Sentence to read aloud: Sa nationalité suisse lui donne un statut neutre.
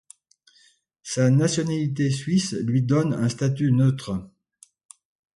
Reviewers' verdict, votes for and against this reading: accepted, 2, 0